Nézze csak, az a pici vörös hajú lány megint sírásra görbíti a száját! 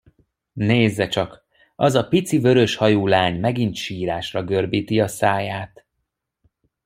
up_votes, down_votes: 2, 0